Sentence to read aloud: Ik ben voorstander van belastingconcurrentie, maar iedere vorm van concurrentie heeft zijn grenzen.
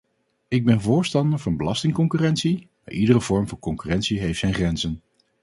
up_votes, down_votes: 4, 0